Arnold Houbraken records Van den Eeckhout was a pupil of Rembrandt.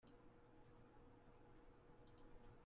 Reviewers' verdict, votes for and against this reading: rejected, 0, 2